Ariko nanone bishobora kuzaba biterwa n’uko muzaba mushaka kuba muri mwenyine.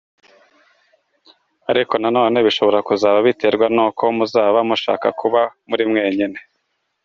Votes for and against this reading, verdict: 2, 0, accepted